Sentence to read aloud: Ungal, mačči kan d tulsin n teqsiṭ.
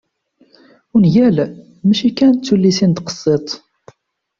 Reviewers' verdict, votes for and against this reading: rejected, 1, 2